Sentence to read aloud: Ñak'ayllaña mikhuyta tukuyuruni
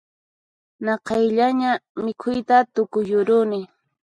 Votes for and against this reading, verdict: 2, 4, rejected